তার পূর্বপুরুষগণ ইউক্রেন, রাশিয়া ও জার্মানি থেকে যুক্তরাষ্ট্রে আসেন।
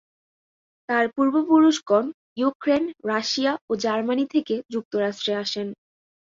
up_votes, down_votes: 4, 0